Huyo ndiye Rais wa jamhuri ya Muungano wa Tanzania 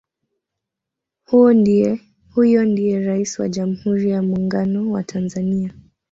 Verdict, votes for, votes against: rejected, 1, 2